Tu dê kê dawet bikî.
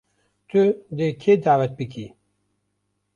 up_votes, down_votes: 2, 0